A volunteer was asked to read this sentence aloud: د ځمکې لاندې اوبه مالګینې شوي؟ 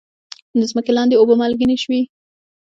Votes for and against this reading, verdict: 2, 0, accepted